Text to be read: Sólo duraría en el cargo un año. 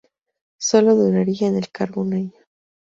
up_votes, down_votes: 2, 0